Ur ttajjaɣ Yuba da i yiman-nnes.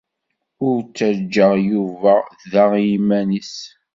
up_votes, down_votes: 2, 1